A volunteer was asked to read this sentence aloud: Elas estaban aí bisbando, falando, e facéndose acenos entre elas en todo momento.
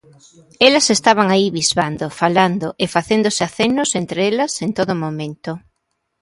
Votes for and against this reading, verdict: 1, 2, rejected